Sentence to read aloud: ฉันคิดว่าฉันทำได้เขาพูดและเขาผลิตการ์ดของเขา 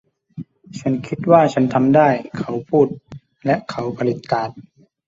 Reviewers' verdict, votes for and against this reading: rejected, 0, 2